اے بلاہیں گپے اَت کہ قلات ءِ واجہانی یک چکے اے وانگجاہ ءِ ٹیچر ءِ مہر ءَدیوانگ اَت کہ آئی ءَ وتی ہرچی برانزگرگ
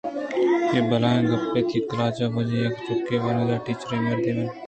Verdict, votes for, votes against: rejected, 2, 3